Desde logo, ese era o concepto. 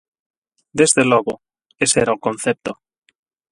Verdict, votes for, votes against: accepted, 8, 0